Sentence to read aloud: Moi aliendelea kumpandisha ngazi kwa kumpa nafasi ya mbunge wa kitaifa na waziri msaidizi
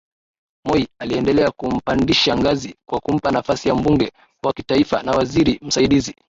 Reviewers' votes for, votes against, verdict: 15, 3, accepted